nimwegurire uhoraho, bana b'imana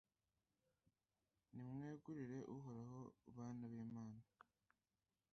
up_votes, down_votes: 0, 2